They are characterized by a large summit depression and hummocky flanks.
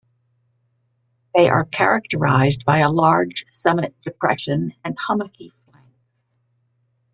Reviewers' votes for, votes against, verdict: 0, 2, rejected